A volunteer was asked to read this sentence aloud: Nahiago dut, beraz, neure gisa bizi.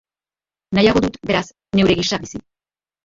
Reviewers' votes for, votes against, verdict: 0, 3, rejected